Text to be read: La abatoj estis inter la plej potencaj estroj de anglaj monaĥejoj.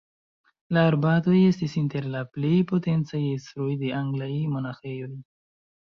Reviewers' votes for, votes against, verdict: 0, 2, rejected